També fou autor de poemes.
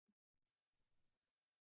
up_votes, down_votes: 1, 2